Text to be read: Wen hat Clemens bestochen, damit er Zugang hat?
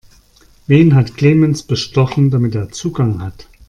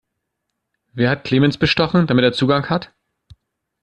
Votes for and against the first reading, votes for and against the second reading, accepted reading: 2, 0, 1, 2, first